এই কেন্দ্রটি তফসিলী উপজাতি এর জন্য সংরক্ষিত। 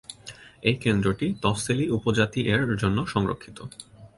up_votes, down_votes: 2, 0